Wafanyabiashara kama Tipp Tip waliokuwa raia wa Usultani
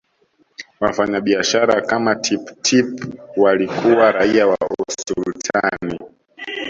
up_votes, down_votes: 1, 2